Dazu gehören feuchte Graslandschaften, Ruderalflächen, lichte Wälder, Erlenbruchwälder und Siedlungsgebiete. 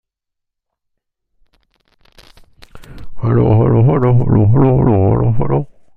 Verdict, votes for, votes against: rejected, 0, 2